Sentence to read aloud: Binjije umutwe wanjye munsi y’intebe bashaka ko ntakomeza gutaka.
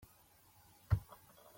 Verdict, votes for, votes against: rejected, 0, 2